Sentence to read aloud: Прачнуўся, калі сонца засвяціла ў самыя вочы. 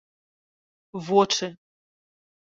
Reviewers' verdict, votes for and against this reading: rejected, 1, 2